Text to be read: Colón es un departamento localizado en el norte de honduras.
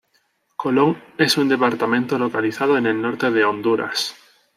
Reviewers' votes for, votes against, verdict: 0, 2, rejected